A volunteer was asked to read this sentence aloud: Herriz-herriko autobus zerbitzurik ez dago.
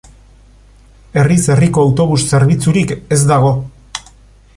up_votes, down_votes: 2, 0